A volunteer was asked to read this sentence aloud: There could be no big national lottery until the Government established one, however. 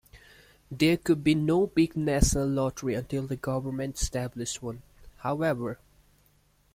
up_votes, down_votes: 2, 0